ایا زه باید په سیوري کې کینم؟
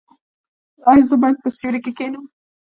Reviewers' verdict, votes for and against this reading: rejected, 1, 2